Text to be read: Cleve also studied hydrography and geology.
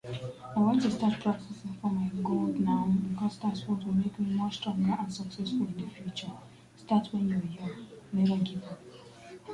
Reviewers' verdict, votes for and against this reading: rejected, 0, 2